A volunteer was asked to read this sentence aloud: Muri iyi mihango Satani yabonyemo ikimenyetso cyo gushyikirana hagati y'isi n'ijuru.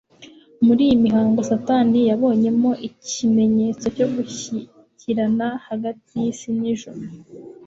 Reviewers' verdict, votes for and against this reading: accepted, 3, 0